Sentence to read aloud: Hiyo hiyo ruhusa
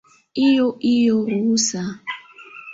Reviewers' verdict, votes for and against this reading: accepted, 2, 0